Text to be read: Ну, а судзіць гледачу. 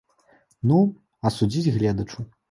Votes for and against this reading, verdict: 0, 2, rejected